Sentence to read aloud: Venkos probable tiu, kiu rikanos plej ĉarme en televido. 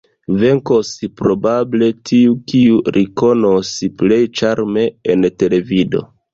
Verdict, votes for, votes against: rejected, 0, 2